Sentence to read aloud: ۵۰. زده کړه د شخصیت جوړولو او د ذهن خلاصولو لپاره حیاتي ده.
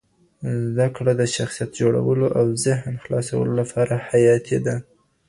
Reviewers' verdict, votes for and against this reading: rejected, 0, 2